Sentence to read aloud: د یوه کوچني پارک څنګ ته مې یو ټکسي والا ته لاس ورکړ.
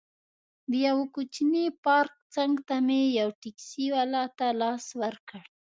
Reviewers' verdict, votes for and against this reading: accepted, 2, 0